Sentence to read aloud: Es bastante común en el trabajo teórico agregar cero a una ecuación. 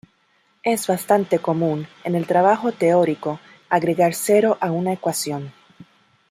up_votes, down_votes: 2, 0